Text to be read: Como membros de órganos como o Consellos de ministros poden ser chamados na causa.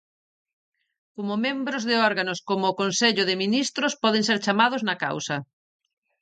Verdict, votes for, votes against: rejected, 0, 2